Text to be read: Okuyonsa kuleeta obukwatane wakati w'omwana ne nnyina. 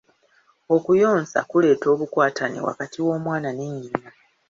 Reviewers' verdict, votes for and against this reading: accepted, 2, 0